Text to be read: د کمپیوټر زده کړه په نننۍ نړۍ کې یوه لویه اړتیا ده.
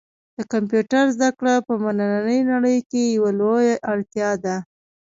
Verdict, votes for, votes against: rejected, 0, 2